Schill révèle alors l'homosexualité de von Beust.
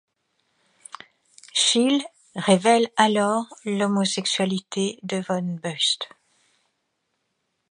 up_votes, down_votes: 2, 0